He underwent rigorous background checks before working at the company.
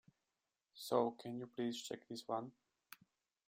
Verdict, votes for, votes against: rejected, 0, 2